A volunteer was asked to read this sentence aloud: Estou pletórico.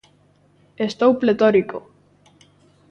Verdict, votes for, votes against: accepted, 2, 0